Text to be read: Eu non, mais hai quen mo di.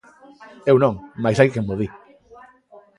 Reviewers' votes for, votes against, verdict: 2, 0, accepted